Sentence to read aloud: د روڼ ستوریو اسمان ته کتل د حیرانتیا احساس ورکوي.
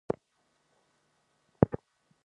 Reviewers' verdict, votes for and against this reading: rejected, 0, 2